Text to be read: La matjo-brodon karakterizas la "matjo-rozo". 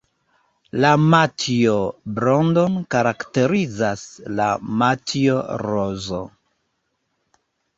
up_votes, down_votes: 1, 2